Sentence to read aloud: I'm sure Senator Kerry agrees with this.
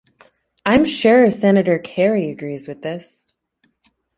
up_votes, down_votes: 2, 1